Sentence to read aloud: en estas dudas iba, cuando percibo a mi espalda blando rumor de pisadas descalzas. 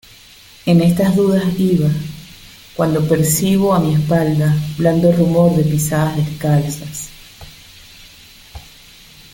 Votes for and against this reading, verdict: 2, 0, accepted